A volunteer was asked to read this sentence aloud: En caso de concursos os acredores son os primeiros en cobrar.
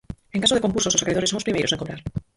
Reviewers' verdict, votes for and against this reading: rejected, 0, 4